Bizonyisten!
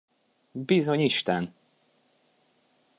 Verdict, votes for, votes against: accepted, 2, 0